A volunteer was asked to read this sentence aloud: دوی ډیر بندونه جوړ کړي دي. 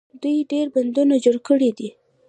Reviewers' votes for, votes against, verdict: 1, 3, rejected